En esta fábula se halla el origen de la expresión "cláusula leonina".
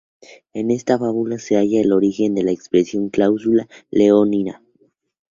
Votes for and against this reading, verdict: 0, 2, rejected